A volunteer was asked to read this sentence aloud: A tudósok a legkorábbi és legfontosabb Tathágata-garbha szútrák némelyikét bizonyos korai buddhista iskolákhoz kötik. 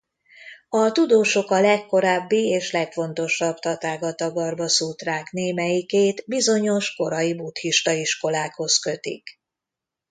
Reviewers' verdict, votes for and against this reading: accepted, 2, 0